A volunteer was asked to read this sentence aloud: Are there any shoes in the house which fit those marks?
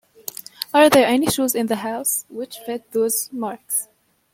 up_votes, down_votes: 2, 0